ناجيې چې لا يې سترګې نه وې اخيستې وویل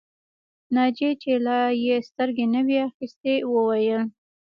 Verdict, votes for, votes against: rejected, 1, 2